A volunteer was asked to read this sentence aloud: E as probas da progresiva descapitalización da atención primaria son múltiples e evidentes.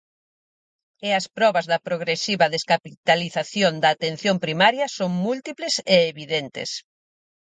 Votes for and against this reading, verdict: 4, 0, accepted